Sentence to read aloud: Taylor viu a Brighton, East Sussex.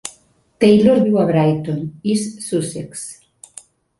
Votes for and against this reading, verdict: 3, 0, accepted